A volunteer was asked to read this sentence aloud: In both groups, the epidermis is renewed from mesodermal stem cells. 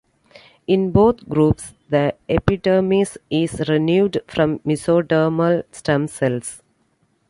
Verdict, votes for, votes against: accepted, 2, 1